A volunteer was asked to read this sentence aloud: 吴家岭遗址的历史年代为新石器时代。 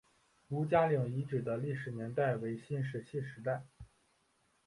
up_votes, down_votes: 2, 0